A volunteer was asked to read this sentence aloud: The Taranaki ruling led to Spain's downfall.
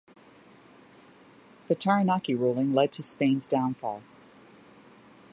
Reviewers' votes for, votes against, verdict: 2, 0, accepted